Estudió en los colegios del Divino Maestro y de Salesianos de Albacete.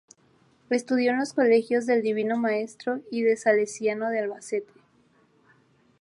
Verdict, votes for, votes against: rejected, 0, 2